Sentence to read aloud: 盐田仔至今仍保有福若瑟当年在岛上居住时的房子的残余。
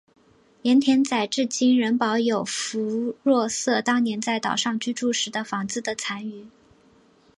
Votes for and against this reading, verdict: 2, 0, accepted